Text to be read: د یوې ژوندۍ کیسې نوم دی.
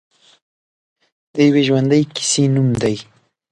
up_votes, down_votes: 2, 0